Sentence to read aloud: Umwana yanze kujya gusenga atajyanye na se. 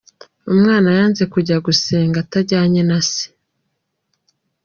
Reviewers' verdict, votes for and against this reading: accepted, 2, 0